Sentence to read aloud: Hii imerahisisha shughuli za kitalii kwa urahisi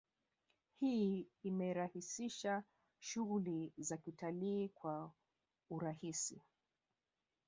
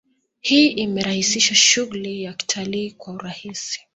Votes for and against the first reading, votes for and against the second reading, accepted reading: 3, 0, 1, 2, first